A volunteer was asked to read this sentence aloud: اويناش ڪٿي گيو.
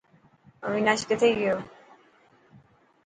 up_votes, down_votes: 4, 0